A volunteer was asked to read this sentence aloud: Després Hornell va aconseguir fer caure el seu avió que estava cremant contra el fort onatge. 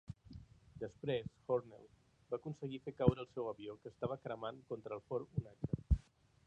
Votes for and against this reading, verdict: 1, 2, rejected